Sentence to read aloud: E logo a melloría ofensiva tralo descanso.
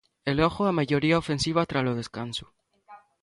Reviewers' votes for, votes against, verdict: 1, 2, rejected